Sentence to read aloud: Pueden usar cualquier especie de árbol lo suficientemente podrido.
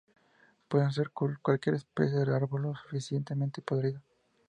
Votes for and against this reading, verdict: 2, 0, accepted